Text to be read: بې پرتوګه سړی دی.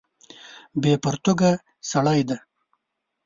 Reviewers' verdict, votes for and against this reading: rejected, 2, 3